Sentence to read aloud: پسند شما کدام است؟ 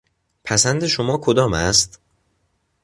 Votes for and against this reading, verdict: 2, 0, accepted